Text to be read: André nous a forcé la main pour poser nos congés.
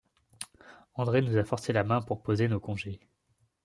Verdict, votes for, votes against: accepted, 2, 0